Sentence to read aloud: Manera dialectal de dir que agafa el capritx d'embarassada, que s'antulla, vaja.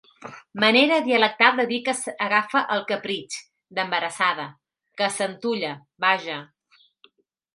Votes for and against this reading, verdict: 0, 2, rejected